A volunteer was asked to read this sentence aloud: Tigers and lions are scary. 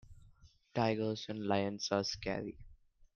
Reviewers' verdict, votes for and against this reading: accepted, 2, 0